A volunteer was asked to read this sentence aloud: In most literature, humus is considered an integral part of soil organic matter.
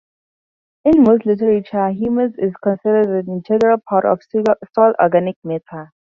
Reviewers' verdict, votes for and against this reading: rejected, 0, 2